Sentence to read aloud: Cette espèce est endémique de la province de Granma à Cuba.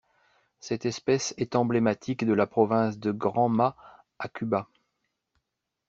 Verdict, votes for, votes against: rejected, 0, 2